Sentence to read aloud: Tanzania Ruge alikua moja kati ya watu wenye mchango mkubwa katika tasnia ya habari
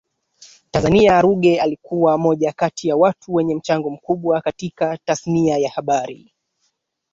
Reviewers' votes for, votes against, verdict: 2, 1, accepted